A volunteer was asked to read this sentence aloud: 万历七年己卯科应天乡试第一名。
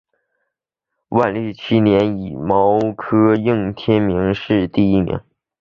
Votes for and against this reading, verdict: 3, 3, rejected